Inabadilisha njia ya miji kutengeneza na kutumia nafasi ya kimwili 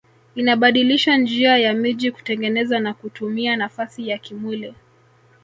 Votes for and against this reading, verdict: 0, 2, rejected